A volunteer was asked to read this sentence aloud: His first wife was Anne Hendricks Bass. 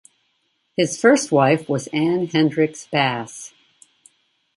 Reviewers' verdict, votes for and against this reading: accepted, 2, 0